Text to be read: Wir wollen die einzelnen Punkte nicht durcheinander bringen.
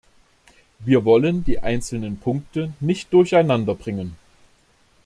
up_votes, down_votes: 2, 0